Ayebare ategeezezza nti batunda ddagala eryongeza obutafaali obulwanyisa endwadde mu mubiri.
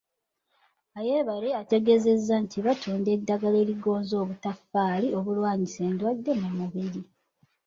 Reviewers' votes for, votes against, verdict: 1, 2, rejected